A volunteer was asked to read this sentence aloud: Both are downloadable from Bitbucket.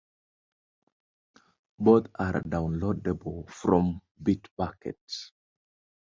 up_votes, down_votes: 2, 1